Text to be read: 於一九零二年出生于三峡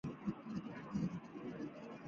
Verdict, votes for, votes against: rejected, 0, 5